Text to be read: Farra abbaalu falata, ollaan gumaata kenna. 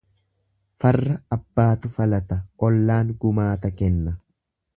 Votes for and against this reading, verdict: 1, 2, rejected